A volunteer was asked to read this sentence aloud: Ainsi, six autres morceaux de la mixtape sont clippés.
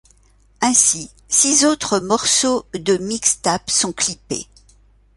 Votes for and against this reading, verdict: 1, 2, rejected